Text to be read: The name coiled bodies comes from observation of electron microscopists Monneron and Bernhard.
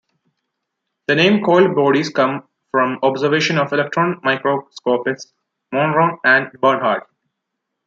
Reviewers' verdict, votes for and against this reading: rejected, 1, 2